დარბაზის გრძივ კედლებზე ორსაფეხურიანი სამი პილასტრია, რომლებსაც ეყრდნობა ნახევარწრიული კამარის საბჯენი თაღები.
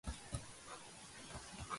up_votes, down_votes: 0, 2